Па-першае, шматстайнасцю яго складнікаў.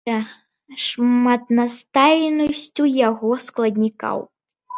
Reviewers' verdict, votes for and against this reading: rejected, 0, 2